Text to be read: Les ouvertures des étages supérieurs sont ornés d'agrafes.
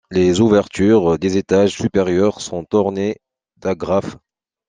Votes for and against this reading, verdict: 2, 0, accepted